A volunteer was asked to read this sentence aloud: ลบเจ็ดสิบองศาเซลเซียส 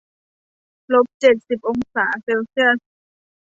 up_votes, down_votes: 2, 0